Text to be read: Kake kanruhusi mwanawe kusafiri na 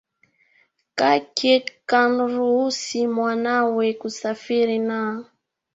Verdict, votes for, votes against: accepted, 2, 0